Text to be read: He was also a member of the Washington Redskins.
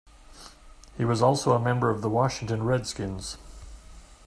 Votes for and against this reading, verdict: 2, 0, accepted